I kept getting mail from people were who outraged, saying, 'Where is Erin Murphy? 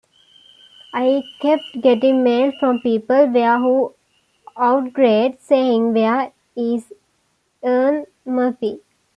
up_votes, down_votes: 2, 1